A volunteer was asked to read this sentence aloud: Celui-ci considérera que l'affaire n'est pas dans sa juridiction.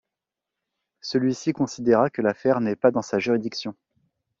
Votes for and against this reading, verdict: 0, 2, rejected